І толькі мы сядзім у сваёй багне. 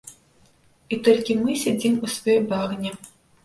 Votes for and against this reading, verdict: 2, 0, accepted